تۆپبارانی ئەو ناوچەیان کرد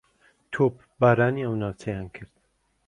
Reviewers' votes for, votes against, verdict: 2, 1, accepted